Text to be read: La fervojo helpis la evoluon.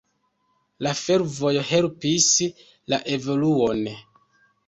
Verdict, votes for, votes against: accepted, 2, 0